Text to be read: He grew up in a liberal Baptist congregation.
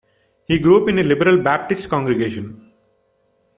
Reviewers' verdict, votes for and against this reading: accepted, 2, 0